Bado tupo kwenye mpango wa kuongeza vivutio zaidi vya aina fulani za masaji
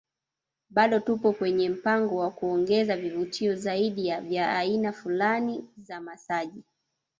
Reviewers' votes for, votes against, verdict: 0, 2, rejected